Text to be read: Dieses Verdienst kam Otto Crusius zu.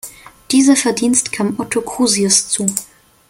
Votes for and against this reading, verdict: 2, 0, accepted